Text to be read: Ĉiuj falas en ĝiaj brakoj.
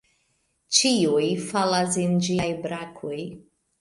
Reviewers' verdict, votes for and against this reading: accepted, 2, 0